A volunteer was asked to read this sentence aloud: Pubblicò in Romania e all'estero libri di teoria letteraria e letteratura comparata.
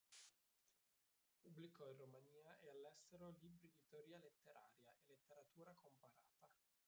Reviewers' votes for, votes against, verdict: 0, 2, rejected